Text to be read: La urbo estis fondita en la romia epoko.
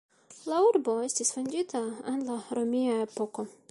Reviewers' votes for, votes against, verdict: 2, 0, accepted